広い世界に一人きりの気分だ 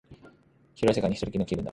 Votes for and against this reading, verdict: 3, 0, accepted